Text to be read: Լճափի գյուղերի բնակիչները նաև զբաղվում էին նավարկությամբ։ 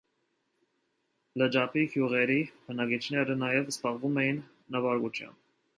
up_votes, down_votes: 2, 0